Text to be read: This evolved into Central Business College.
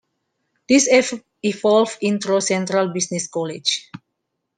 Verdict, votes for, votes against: rejected, 0, 2